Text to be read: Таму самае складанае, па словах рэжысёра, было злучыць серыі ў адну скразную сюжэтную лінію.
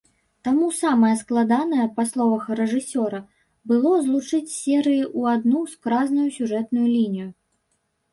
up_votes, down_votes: 1, 2